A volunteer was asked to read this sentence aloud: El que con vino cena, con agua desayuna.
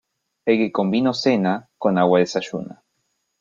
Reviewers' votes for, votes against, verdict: 2, 0, accepted